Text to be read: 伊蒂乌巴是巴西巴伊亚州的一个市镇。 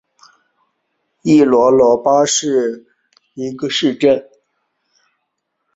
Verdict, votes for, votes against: rejected, 1, 2